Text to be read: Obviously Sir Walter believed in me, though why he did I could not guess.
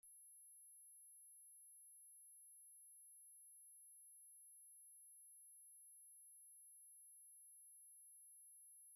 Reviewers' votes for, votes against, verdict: 0, 2, rejected